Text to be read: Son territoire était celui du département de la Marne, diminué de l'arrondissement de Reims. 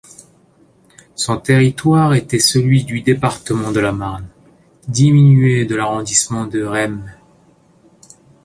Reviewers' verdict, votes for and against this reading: rejected, 0, 2